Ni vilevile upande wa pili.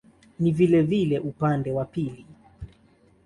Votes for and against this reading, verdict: 2, 0, accepted